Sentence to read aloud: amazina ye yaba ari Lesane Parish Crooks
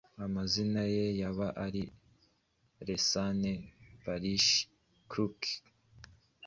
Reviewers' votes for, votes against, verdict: 2, 0, accepted